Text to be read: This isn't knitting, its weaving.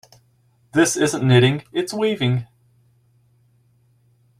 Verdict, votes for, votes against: accepted, 2, 0